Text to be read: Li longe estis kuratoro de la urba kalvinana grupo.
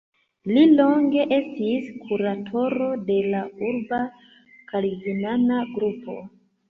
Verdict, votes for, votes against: accepted, 2, 1